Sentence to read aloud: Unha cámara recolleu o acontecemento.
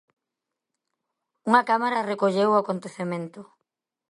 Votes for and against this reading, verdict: 2, 0, accepted